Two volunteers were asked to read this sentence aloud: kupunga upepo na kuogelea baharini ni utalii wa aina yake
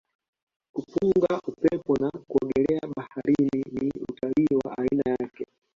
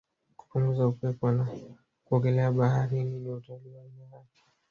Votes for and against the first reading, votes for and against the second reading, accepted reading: 2, 1, 1, 3, first